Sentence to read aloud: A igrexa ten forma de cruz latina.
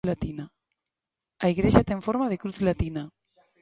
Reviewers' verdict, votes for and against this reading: rejected, 0, 2